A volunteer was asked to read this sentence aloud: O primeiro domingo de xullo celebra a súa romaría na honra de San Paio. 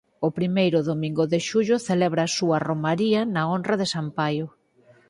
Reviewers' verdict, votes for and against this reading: accepted, 4, 0